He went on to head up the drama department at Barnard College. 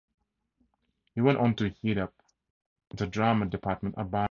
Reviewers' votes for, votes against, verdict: 0, 2, rejected